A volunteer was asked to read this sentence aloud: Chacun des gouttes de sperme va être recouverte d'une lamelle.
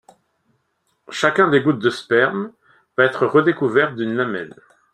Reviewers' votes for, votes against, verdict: 0, 2, rejected